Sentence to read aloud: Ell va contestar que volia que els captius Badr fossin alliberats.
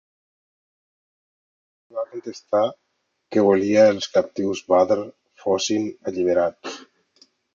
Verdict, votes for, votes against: rejected, 1, 2